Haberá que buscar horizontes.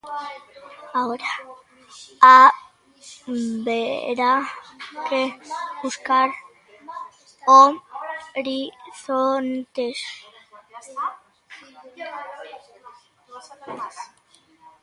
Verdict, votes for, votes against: rejected, 0, 2